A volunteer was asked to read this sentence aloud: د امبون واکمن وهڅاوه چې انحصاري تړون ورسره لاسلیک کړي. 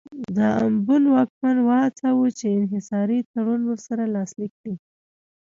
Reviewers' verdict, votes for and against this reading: accepted, 2, 0